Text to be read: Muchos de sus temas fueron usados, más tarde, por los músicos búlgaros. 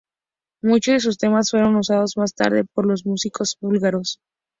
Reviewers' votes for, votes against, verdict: 2, 0, accepted